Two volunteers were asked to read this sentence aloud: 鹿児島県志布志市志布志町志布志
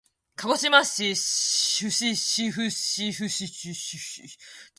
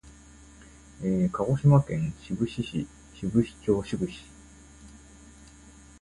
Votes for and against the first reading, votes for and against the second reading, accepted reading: 1, 2, 2, 0, second